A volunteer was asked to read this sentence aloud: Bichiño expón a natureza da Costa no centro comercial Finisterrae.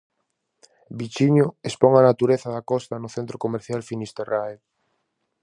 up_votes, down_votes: 4, 0